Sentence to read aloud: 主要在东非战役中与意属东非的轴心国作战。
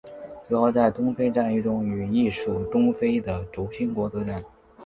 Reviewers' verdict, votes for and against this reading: accepted, 3, 2